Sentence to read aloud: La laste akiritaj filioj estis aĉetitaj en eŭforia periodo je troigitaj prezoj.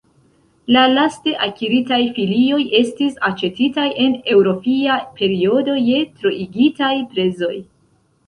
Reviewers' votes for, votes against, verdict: 1, 2, rejected